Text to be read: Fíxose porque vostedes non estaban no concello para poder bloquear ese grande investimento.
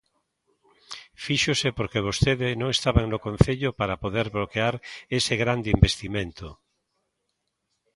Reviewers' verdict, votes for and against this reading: rejected, 0, 2